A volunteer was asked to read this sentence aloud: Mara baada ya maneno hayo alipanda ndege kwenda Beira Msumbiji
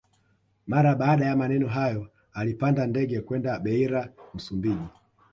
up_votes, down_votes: 2, 0